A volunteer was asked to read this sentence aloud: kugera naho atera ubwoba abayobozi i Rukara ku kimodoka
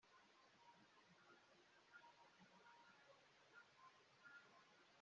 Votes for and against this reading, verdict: 0, 2, rejected